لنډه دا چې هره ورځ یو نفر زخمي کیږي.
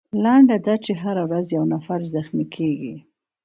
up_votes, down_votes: 2, 0